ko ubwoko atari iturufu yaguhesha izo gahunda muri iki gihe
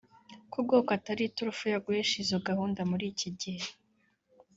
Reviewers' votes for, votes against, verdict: 1, 2, rejected